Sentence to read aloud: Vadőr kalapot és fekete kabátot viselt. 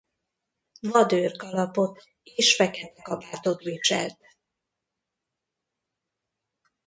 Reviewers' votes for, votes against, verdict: 0, 2, rejected